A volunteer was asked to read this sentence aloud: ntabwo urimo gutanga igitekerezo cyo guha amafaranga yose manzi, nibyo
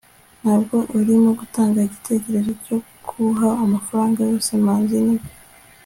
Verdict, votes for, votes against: accepted, 2, 0